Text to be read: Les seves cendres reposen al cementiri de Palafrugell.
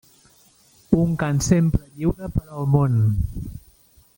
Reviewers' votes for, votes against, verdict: 0, 2, rejected